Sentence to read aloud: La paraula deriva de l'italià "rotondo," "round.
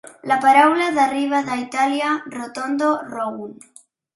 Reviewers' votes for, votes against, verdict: 0, 2, rejected